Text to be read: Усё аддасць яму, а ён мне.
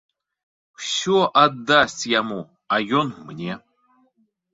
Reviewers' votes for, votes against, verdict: 2, 0, accepted